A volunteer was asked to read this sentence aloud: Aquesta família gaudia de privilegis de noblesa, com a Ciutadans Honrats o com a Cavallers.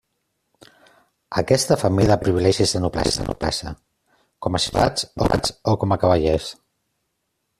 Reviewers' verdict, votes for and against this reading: rejected, 0, 2